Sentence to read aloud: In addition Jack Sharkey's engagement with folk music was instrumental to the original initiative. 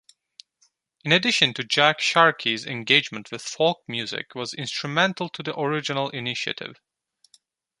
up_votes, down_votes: 1, 2